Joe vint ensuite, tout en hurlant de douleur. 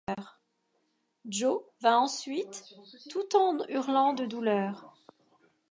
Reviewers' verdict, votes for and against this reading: accepted, 2, 0